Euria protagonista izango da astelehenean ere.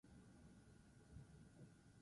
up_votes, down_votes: 0, 2